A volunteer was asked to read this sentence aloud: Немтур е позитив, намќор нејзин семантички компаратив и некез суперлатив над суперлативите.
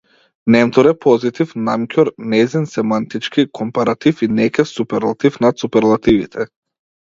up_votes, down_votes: 2, 0